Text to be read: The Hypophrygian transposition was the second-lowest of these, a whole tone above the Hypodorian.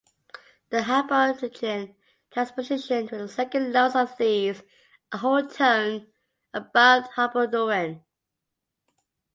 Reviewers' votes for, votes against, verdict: 0, 2, rejected